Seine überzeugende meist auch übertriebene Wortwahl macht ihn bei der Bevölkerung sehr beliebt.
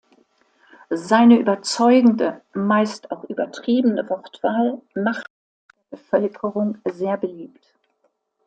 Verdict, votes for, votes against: rejected, 0, 2